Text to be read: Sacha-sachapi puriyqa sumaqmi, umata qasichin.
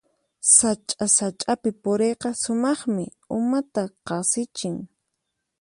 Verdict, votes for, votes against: accepted, 4, 0